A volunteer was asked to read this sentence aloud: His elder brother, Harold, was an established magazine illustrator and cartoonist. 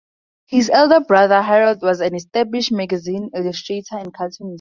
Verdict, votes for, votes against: accepted, 4, 2